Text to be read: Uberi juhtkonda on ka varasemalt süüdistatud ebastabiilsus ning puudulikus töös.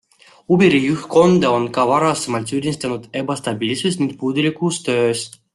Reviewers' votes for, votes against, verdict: 1, 2, rejected